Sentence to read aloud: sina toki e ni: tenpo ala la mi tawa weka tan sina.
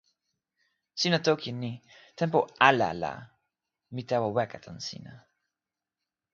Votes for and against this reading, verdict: 0, 2, rejected